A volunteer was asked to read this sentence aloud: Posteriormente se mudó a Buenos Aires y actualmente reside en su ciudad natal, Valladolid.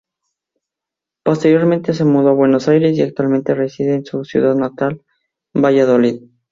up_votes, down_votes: 2, 0